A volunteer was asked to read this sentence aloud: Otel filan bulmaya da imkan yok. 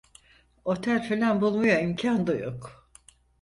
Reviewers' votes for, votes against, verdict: 0, 4, rejected